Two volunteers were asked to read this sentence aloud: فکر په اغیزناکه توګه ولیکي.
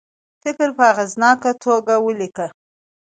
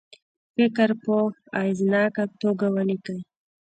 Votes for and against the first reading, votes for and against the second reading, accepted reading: 2, 0, 1, 2, first